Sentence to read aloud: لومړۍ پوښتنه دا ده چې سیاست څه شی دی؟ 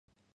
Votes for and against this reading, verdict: 0, 2, rejected